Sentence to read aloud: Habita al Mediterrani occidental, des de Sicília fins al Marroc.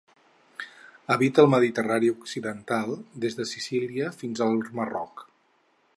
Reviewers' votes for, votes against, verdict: 6, 0, accepted